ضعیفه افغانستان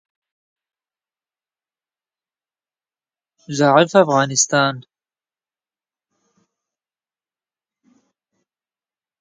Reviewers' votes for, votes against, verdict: 2, 3, rejected